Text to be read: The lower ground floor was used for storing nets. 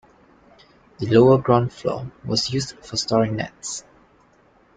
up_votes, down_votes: 2, 0